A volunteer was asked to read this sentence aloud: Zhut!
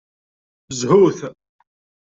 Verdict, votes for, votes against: accepted, 2, 0